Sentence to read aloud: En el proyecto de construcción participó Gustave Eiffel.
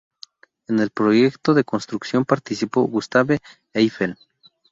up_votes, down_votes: 4, 0